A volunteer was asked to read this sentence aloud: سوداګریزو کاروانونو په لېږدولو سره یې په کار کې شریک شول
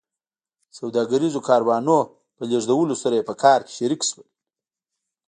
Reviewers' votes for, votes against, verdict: 2, 0, accepted